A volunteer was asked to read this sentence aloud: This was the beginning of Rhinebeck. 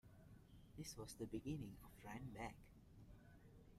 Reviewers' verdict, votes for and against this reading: rejected, 0, 2